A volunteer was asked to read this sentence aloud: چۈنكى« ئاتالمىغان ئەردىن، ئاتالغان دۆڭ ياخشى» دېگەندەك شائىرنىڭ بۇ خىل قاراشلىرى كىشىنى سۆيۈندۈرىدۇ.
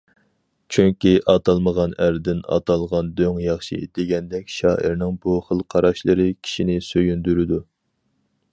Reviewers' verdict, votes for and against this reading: accepted, 4, 0